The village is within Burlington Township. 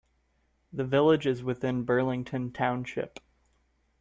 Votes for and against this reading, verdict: 2, 0, accepted